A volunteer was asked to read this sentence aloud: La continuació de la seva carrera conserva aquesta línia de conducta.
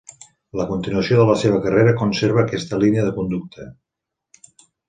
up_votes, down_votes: 2, 1